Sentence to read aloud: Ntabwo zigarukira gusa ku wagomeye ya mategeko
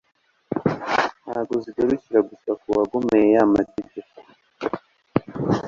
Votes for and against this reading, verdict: 2, 0, accepted